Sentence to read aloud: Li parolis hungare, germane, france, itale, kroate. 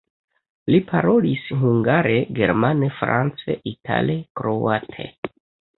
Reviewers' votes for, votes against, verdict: 1, 2, rejected